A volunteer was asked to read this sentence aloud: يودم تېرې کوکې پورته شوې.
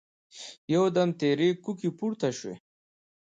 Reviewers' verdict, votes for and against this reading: accepted, 2, 0